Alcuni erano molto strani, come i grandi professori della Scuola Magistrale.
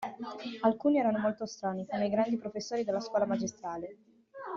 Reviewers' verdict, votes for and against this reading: rejected, 1, 2